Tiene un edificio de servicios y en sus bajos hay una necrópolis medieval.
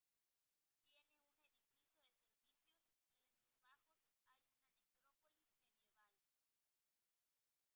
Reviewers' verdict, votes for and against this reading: rejected, 0, 2